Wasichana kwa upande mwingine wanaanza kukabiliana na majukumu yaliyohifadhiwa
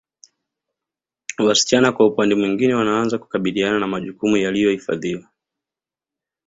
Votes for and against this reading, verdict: 1, 2, rejected